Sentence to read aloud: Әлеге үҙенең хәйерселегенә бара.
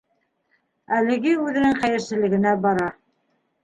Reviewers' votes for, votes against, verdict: 2, 0, accepted